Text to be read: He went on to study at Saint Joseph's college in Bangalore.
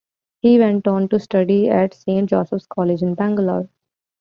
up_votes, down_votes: 2, 0